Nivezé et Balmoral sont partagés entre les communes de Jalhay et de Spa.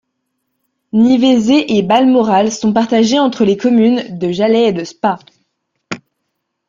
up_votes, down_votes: 2, 0